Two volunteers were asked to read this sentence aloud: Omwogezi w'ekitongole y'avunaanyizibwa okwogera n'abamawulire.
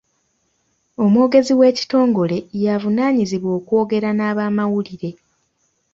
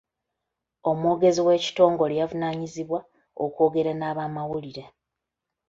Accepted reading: first